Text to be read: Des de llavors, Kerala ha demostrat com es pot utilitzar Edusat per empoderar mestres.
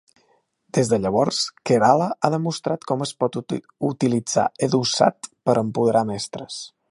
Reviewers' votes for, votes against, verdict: 1, 2, rejected